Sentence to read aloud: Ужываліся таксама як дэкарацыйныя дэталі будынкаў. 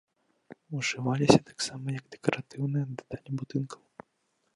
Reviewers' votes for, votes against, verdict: 0, 2, rejected